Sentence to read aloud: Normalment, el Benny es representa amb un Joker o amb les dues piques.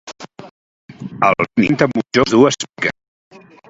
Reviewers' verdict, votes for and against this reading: rejected, 0, 2